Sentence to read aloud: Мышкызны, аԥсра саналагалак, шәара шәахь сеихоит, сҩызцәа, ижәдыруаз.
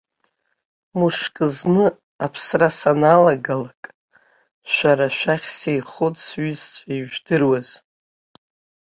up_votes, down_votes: 2, 1